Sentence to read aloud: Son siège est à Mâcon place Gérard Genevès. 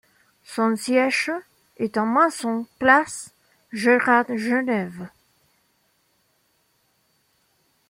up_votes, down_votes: 1, 2